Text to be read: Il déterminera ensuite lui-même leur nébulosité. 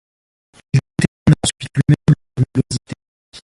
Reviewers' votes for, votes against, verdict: 0, 2, rejected